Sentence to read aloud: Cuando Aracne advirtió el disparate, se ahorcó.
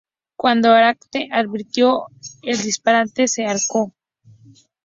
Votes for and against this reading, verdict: 0, 4, rejected